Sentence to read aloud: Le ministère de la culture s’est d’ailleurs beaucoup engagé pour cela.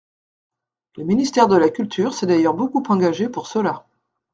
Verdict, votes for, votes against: accepted, 2, 0